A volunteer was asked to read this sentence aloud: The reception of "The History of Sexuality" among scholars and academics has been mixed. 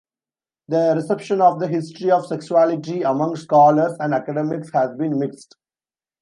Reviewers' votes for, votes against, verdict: 2, 0, accepted